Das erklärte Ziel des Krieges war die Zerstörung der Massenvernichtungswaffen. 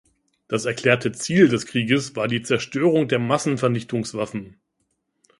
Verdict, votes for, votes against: accepted, 2, 0